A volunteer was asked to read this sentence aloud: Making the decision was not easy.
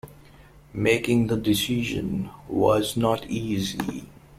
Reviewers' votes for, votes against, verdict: 1, 2, rejected